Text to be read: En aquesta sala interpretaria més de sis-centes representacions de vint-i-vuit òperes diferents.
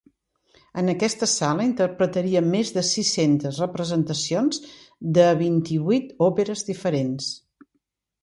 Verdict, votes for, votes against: accepted, 2, 0